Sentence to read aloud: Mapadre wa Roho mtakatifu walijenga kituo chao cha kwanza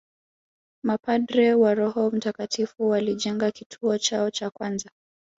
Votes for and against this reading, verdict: 0, 2, rejected